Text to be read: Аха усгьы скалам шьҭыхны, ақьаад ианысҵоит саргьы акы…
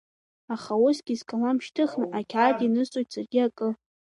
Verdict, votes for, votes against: accepted, 2, 0